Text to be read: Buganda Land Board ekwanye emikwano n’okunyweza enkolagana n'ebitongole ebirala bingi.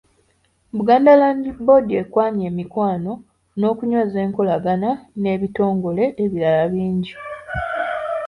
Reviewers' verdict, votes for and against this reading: accepted, 2, 0